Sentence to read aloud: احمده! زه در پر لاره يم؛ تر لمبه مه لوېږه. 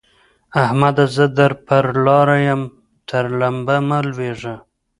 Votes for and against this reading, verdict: 0, 2, rejected